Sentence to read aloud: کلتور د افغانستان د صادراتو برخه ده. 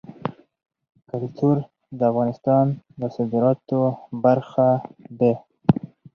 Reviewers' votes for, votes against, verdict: 2, 4, rejected